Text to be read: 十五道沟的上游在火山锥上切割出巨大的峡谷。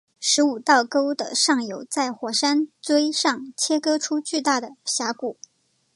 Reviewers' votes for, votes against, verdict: 2, 0, accepted